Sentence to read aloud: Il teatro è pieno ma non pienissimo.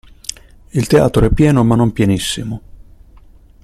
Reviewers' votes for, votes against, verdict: 2, 0, accepted